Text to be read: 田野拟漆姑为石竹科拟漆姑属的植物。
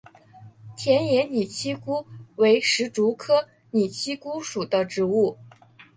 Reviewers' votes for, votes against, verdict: 2, 0, accepted